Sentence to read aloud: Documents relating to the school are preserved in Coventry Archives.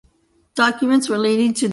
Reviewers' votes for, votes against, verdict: 0, 2, rejected